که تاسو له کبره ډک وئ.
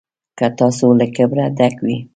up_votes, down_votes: 1, 2